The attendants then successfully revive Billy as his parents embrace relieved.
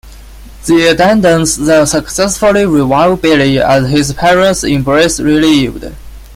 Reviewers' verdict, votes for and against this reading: rejected, 0, 2